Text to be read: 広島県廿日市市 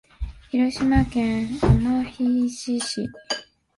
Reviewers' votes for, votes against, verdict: 1, 2, rejected